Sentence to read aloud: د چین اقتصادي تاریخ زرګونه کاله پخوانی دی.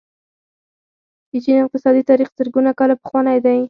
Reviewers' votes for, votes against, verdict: 2, 4, rejected